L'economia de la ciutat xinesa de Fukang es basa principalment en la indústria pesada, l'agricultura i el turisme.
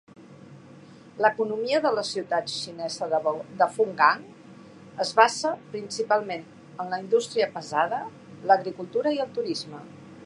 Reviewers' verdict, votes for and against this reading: rejected, 2, 4